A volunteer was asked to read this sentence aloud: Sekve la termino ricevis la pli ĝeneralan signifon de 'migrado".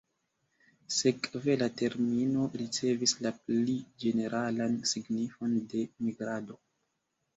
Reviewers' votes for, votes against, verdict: 2, 0, accepted